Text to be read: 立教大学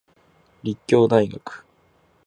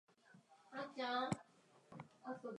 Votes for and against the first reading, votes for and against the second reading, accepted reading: 4, 0, 2, 2, first